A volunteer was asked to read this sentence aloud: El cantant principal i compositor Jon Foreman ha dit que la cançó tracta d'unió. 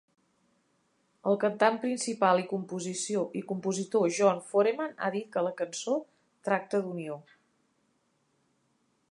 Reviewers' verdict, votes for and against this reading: rejected, 0, 2